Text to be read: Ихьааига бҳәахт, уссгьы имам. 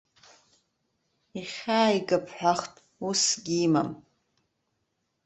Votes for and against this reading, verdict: 2, 0, accepted